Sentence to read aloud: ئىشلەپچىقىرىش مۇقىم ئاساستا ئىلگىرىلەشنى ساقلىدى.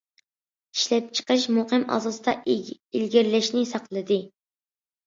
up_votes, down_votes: 2, 1